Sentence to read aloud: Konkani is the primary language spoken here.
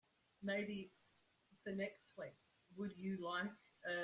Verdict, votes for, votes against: rejected, 0, 2